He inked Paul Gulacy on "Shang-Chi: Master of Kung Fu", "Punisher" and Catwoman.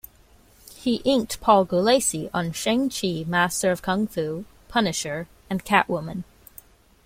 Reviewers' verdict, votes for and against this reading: accepted, 2, 0